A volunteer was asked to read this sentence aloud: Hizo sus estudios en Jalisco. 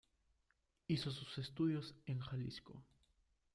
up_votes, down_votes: 1, 2